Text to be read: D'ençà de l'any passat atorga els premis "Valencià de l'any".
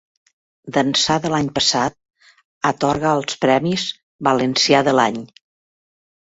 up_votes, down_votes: 2, 0